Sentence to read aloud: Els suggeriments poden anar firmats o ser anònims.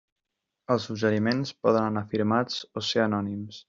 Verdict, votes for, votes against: accepted, 2, 0